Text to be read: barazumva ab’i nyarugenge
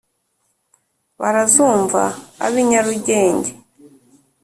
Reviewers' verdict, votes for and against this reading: accepted, 2, 0